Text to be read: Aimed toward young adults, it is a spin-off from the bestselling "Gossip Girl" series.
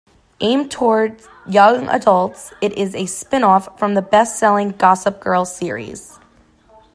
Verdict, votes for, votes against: accepted, 2, 0